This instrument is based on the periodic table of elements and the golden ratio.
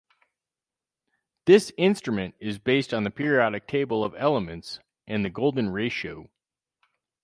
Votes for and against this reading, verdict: 2, 2, rejected